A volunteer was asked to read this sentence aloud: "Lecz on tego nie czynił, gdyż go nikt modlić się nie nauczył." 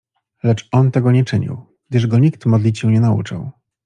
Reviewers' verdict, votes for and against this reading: accepted, 2, 0